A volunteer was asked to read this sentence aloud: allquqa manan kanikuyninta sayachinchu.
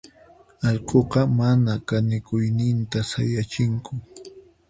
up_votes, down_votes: 0, 4